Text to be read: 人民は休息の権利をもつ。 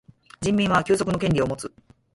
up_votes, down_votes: 0, 4